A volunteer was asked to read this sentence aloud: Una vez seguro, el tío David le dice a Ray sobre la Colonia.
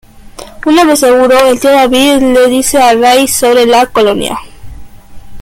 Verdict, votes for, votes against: accepted, 2, 1